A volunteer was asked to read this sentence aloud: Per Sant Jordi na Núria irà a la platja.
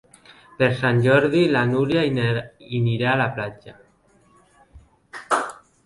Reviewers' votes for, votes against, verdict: 0, 2, rejected